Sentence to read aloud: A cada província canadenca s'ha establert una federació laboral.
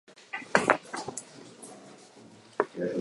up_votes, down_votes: 0, 2